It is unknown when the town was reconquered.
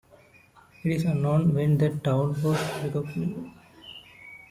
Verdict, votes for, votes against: rejected, 1, 2